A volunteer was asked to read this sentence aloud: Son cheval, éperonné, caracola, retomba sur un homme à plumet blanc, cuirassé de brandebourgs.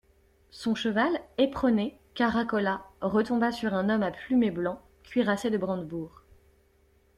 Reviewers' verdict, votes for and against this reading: accepted, 2, 0